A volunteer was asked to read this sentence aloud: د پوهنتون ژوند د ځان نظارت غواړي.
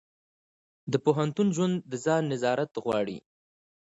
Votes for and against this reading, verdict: 2, 1, accepted